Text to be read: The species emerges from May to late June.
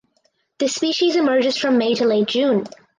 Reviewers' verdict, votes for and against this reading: accepted, 4, 0